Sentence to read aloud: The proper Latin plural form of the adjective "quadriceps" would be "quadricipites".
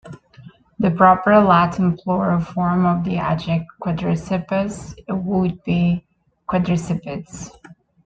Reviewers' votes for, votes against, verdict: 0, 2, rejected